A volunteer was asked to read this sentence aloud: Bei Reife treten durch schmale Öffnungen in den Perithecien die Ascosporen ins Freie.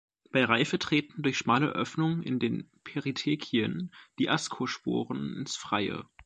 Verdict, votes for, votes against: rejected, 0, 2